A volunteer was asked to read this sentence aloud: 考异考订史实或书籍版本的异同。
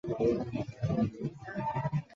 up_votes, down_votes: 0, 2